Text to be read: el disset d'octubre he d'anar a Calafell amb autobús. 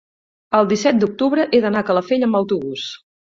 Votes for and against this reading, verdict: 10, 0, accepted